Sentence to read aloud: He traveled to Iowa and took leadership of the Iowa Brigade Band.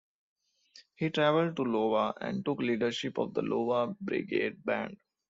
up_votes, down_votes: 0, 2